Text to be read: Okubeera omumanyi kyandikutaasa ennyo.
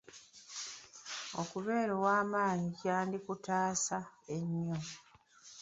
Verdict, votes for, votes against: rejected, 0, 2